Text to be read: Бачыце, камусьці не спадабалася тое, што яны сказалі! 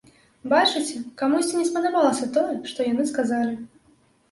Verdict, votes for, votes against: accepted, 2, 0